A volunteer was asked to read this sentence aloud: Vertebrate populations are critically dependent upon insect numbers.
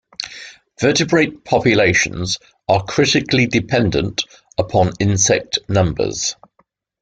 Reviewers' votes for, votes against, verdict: 2, 0, accepted